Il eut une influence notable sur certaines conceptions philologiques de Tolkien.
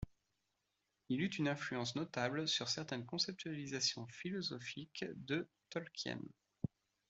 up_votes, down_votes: 1, 2